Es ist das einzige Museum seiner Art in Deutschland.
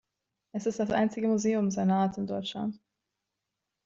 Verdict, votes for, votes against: accepted, 2, 1